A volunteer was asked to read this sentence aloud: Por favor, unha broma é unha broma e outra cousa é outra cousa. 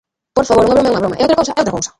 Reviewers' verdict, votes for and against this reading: rejected, 0, 3